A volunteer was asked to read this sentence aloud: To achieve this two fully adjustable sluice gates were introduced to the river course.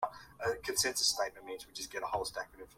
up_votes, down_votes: 1, 2